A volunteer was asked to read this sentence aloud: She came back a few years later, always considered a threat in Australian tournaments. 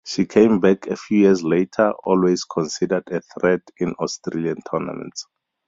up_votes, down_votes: 2, 2